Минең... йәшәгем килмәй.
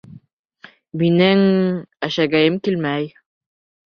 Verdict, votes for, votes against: rejected, 1, 2